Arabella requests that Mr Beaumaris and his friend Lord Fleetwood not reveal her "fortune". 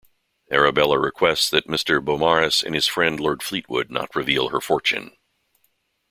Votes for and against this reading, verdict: 2, 0, accepted